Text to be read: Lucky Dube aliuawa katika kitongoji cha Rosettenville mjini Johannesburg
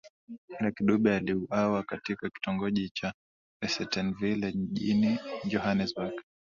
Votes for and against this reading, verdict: 12, 4, accepted